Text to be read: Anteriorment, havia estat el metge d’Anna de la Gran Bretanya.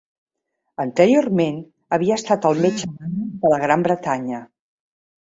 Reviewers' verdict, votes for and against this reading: rejected, 0, 2